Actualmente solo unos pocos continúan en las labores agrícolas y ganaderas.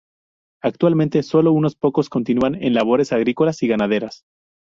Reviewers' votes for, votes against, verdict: 0, 2, rejected